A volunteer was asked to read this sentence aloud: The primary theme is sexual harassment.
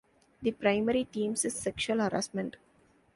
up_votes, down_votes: 2, 0